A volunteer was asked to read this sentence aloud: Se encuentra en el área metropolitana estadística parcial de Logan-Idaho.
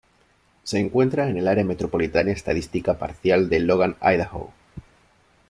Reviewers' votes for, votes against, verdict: 0, 2, rejected